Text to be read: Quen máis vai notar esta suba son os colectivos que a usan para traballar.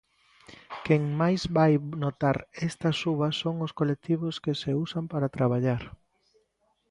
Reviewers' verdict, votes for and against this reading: rejected, 0, 2